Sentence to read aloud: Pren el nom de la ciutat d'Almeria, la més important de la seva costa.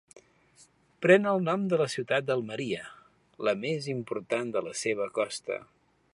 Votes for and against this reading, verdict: 2, 0, accepted